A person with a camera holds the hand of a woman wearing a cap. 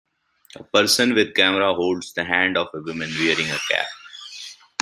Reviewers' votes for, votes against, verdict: 1, 3, rejected